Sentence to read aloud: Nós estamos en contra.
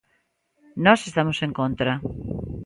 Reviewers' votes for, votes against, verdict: 2, 0, accepted